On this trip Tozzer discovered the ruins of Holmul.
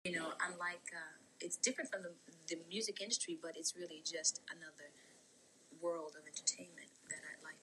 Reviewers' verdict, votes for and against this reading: rejected, 0, 2